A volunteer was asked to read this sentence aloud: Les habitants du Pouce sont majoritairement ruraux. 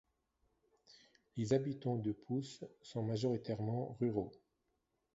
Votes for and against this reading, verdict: 2, 0, accepted